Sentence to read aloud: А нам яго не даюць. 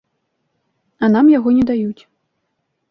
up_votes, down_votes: 2, 0